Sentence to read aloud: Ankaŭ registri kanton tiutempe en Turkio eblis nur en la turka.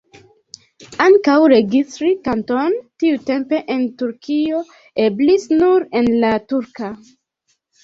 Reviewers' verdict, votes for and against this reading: rejected, 1, 2